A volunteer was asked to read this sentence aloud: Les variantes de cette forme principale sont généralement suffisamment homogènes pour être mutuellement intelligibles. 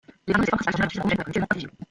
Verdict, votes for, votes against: rejected, 0, 2